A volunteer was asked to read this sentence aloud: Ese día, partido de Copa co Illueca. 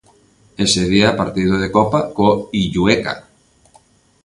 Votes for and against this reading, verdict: 2, 0, accepted